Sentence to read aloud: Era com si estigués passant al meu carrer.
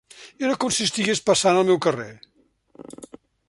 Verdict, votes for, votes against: accepted, 3, 0